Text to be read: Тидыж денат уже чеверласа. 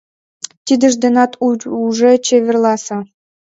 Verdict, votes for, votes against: rejected, 0, 2